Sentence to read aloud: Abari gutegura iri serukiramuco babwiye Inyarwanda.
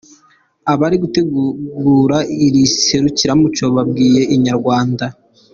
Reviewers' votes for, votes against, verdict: 2, 0, accepted